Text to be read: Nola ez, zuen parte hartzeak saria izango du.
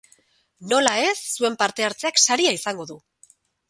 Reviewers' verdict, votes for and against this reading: accepted, 6, 0